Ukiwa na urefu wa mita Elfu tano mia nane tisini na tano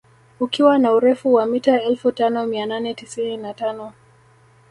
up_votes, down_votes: 2, 0